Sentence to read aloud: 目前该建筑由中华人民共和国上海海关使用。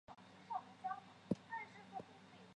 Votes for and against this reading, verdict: 2, 5, rejected